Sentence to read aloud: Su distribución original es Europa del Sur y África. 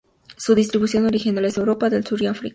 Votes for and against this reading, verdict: 2, 2, rejected